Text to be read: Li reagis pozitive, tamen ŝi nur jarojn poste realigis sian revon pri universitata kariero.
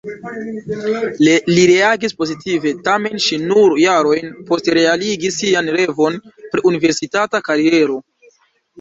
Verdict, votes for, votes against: rejected, 0, 2